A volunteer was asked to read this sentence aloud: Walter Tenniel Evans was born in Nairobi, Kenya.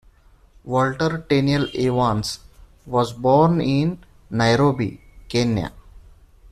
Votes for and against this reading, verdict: 1, 2, rejected